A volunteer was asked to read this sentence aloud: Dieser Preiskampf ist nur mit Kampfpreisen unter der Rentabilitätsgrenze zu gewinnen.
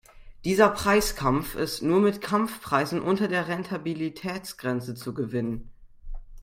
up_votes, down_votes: 2, 0